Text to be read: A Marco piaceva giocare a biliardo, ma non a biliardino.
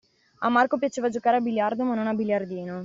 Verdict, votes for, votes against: accepted, 2, 0